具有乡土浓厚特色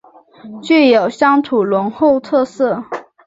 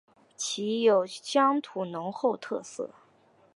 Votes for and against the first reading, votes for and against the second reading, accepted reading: 6, 3, 1, 2, first